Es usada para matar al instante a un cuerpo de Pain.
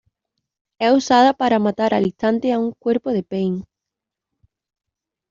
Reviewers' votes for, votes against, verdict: 1, 2, rejected